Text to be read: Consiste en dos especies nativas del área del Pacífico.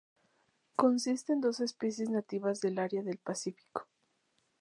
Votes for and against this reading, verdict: 0, 2, rejected